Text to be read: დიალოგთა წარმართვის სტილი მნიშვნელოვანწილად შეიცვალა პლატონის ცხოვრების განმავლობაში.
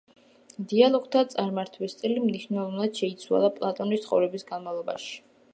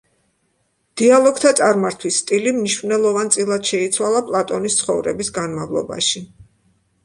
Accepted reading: second